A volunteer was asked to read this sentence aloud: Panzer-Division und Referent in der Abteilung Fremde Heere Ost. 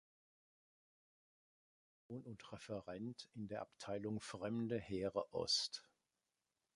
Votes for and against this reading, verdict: 0, 2, rejected